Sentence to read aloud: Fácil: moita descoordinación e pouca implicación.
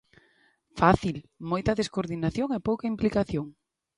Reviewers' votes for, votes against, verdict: 2, 0, accepted